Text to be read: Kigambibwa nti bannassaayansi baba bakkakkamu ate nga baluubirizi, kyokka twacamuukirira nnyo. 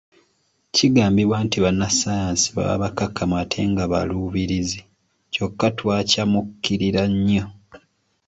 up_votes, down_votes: 2, 1